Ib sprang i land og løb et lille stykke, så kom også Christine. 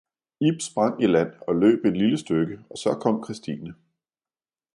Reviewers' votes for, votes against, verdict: 0, 2, rejected